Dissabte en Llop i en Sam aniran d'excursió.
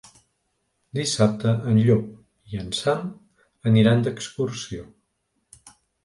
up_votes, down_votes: 3, 0